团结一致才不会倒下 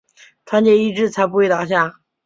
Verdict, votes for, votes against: accepted, 2, 0